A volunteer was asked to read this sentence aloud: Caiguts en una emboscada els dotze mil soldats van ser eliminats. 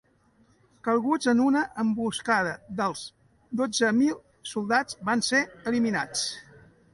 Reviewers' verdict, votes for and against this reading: rejected, 2, 3